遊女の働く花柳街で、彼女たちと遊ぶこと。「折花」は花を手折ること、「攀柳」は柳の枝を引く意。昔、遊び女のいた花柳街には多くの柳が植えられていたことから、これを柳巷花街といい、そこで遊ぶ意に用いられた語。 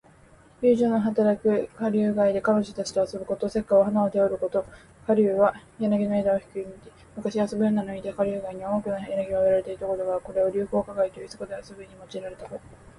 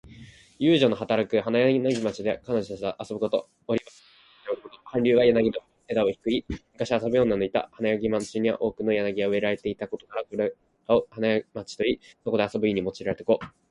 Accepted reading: first